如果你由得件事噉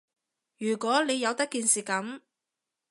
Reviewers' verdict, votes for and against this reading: accepted, 2, 0